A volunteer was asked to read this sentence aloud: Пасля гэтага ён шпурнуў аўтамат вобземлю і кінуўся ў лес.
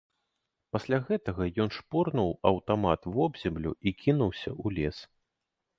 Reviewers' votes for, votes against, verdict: 1, 2, rejected